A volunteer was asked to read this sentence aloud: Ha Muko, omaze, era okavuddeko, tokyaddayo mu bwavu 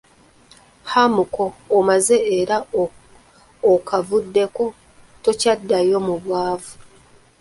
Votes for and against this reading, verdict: 0, 2, rejected